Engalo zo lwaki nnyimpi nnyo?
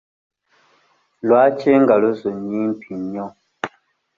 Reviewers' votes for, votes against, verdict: 0, 2, rejected